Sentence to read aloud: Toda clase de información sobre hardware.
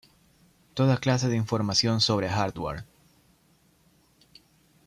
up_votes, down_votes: 2, 0